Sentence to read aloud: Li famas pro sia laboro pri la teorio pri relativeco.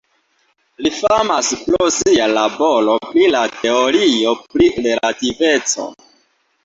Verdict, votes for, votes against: accepted, 2, 0